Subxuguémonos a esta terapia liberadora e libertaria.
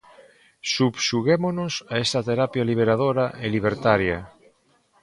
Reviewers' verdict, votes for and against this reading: rejected, 0, 3